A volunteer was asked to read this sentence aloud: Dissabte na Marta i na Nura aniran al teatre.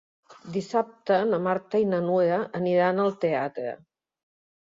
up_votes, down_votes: 0, 2